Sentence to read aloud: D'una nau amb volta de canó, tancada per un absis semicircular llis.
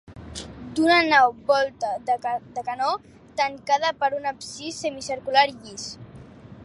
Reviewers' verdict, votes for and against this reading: rejected, 1, 2